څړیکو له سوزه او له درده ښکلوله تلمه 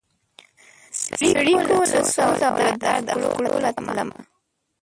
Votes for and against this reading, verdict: 0, 2, rejected